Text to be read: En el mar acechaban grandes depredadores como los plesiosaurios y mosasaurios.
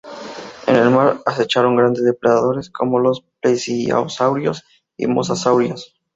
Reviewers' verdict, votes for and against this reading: accepted, 2, 0